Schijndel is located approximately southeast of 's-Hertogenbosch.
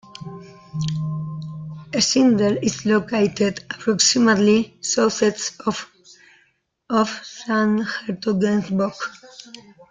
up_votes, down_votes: 0, 2